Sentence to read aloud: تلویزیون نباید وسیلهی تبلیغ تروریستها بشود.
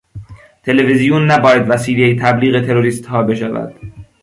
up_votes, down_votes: 2, 0